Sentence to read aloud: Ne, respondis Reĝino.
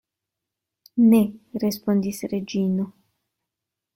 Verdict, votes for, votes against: accepted, 2, 0